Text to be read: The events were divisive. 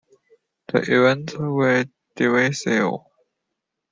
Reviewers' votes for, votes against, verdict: 2, 0, accepted